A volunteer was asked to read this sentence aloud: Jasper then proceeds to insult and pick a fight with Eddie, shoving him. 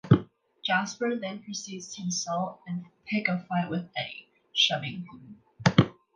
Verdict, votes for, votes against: accepted, 2, 0